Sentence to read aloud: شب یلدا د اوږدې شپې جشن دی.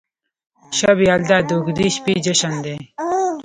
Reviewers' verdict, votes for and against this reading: accepted, 2, 0